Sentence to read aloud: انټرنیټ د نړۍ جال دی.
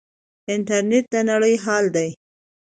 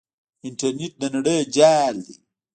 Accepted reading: first